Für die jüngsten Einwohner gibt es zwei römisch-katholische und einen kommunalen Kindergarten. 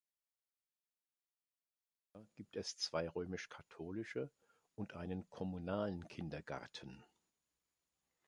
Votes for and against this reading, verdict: 0, 2, rejected